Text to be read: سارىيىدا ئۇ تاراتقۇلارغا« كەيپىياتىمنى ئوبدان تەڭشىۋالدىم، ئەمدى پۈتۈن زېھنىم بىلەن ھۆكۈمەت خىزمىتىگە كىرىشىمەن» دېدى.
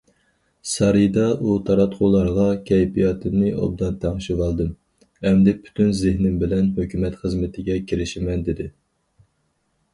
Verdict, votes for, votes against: accepted, 4, 0